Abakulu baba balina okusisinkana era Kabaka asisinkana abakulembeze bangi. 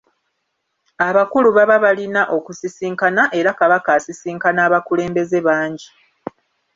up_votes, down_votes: 2, 0